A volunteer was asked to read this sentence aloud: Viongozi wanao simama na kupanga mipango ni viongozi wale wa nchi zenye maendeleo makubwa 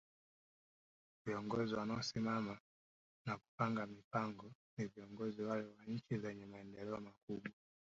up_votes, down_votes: 1, 2